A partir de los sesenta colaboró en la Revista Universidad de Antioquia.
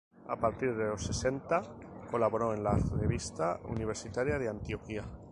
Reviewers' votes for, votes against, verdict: 0, 2, rejected